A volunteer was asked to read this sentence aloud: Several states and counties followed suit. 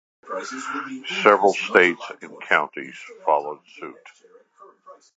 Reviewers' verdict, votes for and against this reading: accepted, 2, 1